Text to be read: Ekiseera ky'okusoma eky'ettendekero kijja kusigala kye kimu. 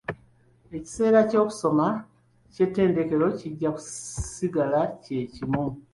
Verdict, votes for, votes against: rejected, 1, 2